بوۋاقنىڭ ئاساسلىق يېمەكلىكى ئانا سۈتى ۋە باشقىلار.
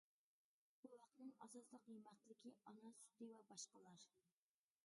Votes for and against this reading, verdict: 0, 2, rejected